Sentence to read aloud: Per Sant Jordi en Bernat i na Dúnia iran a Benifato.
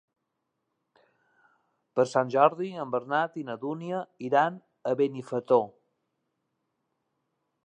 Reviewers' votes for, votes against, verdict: 2, 3, rejected